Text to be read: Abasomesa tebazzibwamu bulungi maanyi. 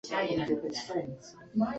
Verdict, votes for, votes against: rejected, 0, 2